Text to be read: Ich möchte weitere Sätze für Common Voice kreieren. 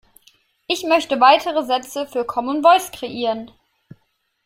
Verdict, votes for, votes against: accepted, 3, 0